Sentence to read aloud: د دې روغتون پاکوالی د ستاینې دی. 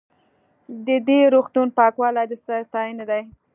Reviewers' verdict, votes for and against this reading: accepted, 3, 0